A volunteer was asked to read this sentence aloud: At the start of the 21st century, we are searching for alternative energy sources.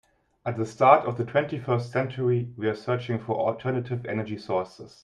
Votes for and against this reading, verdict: 0, 2, rejected